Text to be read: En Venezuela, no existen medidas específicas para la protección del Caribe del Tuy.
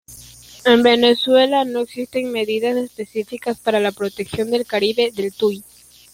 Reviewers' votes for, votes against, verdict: 2, 1, accepted